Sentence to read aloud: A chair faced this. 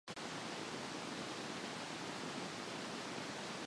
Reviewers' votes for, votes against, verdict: 0, 2, rejected